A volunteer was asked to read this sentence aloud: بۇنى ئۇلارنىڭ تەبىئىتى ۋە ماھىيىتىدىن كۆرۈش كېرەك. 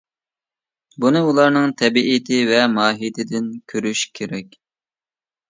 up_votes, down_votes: 2, 0